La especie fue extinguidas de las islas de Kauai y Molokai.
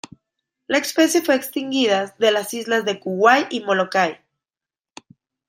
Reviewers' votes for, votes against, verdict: 0, 2, rejected